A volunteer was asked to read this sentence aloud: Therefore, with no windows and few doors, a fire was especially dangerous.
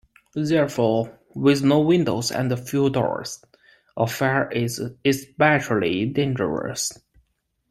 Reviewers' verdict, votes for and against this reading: rejected, 0, 2